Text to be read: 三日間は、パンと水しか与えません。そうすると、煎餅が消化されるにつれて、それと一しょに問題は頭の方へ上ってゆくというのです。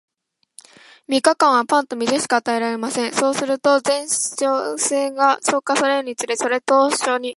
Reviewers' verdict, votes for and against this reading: rejected, 0, 2